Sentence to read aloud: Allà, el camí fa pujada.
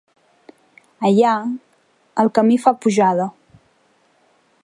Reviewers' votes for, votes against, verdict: 2, 0, accepted